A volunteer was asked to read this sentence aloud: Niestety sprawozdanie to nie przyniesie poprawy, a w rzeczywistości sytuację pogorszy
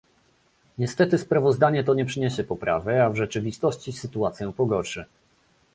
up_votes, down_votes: 2, 0